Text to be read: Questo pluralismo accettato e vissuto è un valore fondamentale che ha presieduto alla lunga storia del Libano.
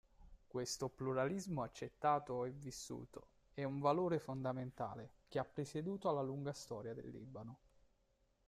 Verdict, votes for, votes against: accepted, 2, 1